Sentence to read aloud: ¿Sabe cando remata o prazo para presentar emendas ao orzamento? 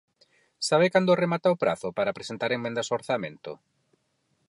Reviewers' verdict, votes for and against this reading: rejected, 2, 4